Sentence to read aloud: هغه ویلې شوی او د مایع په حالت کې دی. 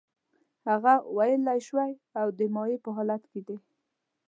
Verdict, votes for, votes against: rejected, 1, 2